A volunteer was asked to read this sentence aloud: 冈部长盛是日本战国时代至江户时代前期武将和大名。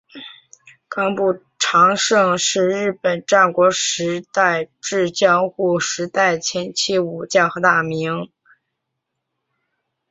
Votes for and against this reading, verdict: 3, 0, accepted